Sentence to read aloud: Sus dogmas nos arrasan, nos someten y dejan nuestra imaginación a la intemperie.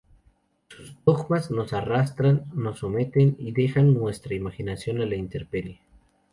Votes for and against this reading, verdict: 2, 0, accepted